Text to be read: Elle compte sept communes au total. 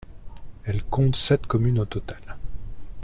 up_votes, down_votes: 2, 0